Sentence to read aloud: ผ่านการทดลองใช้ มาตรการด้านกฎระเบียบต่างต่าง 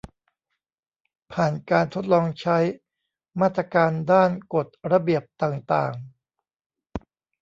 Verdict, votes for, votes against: rejected, 1, 2